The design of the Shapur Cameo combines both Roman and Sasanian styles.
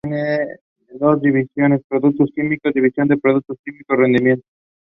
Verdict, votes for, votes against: accepted, 2, 0